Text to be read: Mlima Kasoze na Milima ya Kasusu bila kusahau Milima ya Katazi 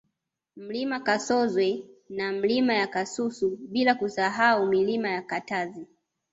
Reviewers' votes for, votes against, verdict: 2, 0, accepted